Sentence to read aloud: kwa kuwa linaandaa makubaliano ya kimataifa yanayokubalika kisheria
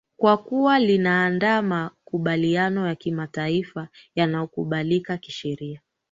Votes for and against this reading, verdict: 2, 1, accepted